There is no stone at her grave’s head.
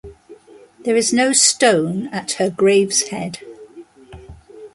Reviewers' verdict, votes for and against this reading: accepted, 2, 0